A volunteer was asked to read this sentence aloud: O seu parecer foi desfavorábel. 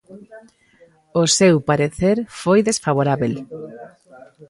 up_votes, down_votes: 1, 2